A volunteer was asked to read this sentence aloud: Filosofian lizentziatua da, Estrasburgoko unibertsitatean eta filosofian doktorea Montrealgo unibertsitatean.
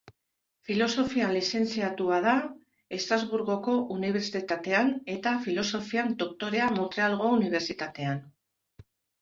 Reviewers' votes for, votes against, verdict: 1, 2, rejected